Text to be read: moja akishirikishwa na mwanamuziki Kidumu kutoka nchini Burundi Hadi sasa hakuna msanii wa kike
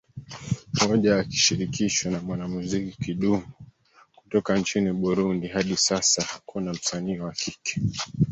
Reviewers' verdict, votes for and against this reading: accepted, 2, 1